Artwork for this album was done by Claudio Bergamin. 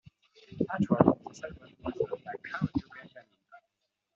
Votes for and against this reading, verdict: 0, 2, rejected